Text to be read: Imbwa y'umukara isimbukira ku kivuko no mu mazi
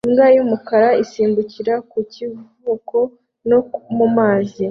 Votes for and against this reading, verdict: 2, 0, accepted